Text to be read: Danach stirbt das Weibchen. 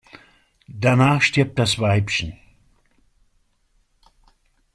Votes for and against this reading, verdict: 2, 0, accepted